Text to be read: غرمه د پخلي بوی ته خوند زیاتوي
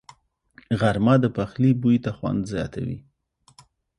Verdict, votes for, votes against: accepted, 3, 0